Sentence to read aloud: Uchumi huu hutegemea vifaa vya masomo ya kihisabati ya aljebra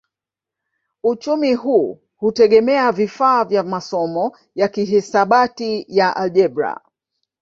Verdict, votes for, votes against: accepted, 3, 0